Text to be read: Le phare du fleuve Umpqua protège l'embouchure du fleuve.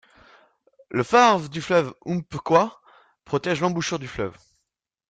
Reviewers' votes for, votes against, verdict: 2, 1, accepted